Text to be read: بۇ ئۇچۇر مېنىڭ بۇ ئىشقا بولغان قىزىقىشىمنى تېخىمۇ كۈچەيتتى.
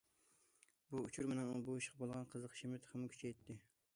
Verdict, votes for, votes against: accepted, 2, 0